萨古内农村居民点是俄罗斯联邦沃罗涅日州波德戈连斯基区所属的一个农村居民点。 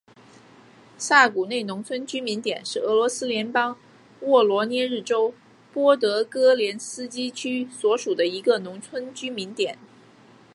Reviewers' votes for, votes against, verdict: 2, 0, accepted